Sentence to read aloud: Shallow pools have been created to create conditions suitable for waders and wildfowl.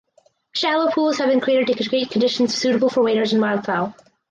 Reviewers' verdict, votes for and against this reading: accepted, 4, 2